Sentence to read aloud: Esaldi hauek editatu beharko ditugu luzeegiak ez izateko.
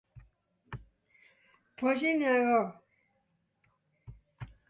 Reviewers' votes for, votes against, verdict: 1, 4, rejected